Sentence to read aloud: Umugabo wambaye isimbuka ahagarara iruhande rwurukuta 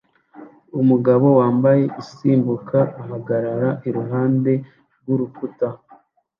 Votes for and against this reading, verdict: 2, 0, accepted